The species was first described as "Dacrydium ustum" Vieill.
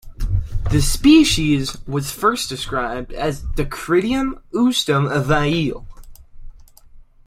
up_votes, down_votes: 0, 2